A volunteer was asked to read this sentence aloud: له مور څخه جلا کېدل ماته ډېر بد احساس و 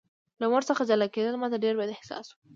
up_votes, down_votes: 2, 0